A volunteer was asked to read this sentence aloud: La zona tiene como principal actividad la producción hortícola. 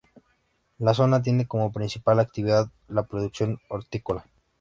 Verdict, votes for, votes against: accepted, 2, 0